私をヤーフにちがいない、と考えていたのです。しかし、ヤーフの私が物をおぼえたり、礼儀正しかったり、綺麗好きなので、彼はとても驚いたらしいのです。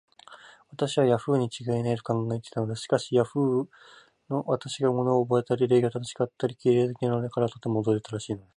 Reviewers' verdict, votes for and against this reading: rejected, 0, 4